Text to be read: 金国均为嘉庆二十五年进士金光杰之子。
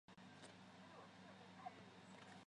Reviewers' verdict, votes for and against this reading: rejected, 0, 3